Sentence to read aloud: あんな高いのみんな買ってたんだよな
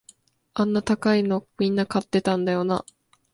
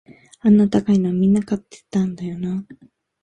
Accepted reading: first